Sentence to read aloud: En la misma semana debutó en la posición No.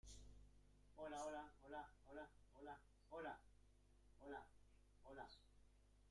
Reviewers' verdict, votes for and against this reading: rejected, 0, 2